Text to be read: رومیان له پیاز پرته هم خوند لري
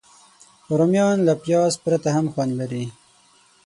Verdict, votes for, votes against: rejected, 3, 6